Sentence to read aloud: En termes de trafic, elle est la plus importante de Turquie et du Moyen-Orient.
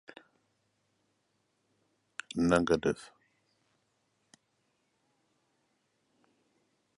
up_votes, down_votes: 0, 2